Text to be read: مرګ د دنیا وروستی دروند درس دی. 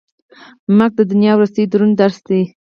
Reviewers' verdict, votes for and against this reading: rejected, 2, 4